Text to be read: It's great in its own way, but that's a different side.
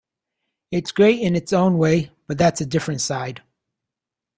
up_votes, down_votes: 2, 0